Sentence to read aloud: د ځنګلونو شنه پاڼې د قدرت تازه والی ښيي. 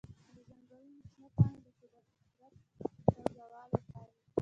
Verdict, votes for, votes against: rejected, 1, 2